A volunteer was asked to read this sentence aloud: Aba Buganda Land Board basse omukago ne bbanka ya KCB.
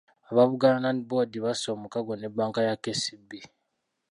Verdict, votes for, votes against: rejected, 0, 2